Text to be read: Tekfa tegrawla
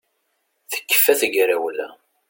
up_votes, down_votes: 2, 0